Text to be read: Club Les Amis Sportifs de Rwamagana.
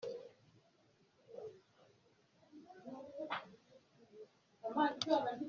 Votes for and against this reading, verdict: 0, 2, rejected